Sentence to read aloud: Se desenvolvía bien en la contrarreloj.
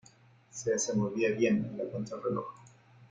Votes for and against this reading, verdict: 2, 0, accepted